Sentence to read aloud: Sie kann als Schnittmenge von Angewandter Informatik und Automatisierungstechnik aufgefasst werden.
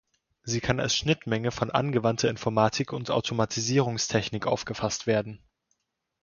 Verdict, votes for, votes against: accepted, 2, 0